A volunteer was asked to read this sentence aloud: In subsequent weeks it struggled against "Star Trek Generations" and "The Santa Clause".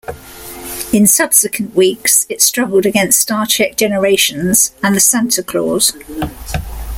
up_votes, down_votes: 2, 0